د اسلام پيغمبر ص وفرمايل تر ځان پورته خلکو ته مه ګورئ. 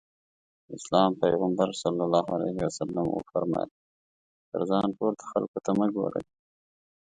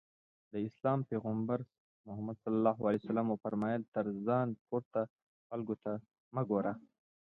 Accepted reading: first